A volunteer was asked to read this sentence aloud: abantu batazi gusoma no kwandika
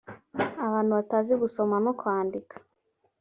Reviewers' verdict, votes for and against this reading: accepted, 2, 0